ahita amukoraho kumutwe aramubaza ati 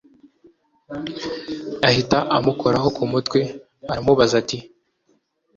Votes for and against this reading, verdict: 2, 0, accepted